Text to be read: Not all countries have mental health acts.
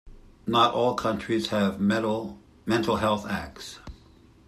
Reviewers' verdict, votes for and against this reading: rejected, 0, 2